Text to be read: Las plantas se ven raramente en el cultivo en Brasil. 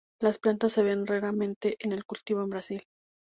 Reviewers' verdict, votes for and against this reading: accepted, 4, 0